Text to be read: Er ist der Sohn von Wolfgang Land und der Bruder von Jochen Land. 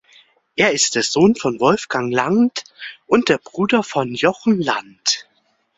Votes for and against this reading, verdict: 3, 0, accepted